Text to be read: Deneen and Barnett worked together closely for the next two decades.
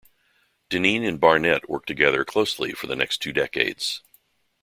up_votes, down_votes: 2, 0